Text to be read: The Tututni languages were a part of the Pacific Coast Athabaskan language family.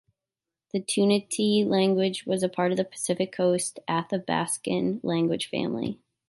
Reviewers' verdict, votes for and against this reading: rejected, 0, 3